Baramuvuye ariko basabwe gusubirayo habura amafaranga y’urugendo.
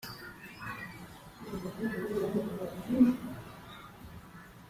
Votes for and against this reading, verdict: 0, 2, rejected